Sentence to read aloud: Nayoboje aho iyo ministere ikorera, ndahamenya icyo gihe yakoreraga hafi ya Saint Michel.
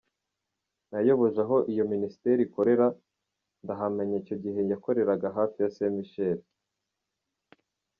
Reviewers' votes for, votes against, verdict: 2, 0, accepted